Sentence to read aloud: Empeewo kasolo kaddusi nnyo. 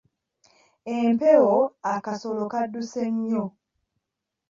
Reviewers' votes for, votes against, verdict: 0, 2, rejected